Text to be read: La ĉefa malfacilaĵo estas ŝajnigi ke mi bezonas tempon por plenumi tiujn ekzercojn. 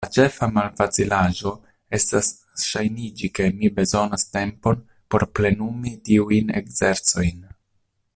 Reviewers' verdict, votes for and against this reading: rejected, 1, 2